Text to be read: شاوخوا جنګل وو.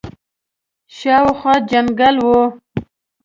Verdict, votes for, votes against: accepted, 2, 0